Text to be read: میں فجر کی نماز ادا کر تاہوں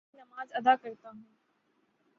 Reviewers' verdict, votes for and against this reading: rejected, 3, 3